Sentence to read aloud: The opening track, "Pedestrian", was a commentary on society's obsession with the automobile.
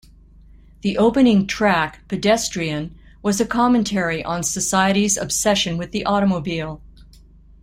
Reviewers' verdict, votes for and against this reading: accepted, 2, 1